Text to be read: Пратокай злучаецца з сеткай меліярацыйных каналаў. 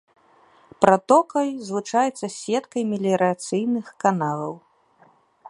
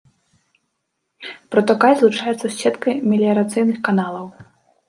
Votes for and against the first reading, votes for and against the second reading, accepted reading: 3, 0, 0, 2, first